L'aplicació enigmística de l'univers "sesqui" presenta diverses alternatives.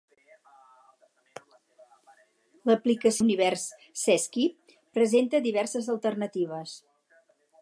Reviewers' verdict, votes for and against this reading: rejected, 0, 4